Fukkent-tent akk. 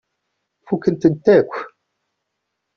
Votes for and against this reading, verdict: 2, 0, accepted